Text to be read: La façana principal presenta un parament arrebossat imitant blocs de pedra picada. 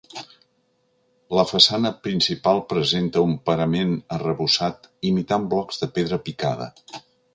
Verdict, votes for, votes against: accepted, 2, 0